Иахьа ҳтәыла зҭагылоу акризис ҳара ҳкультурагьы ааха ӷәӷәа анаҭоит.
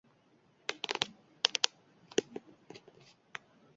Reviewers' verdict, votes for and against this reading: rejected, 0, 3